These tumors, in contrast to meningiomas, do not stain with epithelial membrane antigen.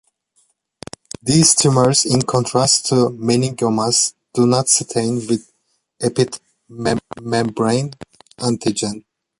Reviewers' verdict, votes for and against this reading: rejected, 0, 2